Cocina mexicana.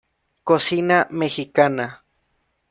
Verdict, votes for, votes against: accepted, 2, 0